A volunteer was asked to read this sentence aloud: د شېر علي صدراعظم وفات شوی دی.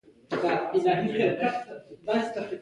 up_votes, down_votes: 1, 2